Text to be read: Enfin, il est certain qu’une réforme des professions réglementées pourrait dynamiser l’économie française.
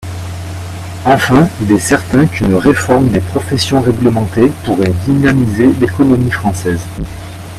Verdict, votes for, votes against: accepted, 2, 0